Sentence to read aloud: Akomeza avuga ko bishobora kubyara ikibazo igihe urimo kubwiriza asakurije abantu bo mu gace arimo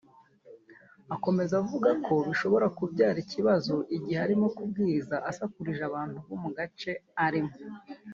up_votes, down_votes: 1, 2